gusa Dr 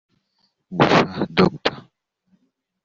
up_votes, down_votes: 3, 0